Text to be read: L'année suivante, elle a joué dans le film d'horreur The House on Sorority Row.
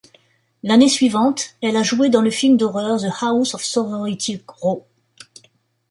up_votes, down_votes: 1, 2